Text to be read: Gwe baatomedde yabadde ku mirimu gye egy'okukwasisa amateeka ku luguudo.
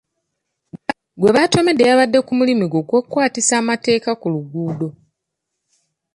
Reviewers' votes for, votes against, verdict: 2, 0, accepted